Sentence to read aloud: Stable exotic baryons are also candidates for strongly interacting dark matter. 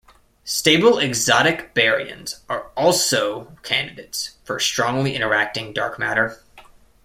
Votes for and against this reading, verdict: 2, 0, accepted